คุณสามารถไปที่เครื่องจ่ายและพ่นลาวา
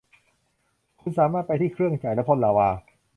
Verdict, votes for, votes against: accepted, 2, 0